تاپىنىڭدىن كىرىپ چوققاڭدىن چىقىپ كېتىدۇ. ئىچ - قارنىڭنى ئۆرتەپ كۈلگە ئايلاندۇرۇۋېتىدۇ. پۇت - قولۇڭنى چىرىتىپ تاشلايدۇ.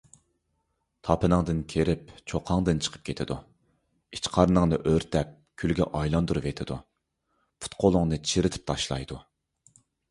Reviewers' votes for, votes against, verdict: 3, 0, accepted